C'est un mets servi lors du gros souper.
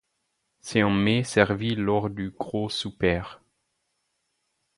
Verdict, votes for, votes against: rejected, 0, 4